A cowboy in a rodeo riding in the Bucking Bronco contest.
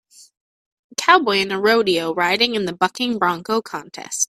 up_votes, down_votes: 2, 0